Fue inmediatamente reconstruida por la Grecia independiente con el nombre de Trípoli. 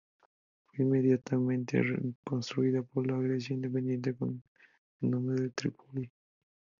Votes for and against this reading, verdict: 2, 2, rejected